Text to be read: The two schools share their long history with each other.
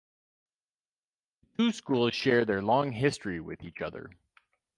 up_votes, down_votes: 2, 4